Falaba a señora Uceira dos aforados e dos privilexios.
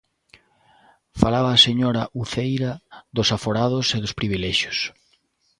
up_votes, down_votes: 2, 0